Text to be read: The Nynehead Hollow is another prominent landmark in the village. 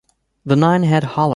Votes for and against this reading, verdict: 0, 2, rejected